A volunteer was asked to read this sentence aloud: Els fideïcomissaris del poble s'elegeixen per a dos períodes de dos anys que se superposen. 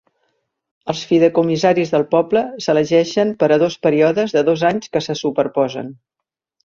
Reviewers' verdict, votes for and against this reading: rejected, 0, 2